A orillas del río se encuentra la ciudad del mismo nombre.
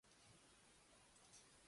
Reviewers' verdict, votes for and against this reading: rejected, 0, 2